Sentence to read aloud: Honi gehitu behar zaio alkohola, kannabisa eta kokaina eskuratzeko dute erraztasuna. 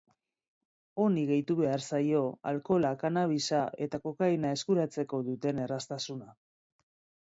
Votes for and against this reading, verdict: 1, 2, rejected